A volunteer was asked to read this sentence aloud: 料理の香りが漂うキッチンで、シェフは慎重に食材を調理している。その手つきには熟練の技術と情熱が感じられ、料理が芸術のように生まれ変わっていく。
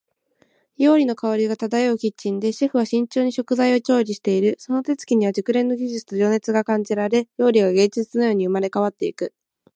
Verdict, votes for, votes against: accepted, 25, 7